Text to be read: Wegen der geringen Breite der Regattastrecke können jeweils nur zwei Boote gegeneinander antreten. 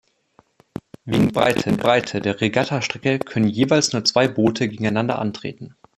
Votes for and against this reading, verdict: 0, 2, rejected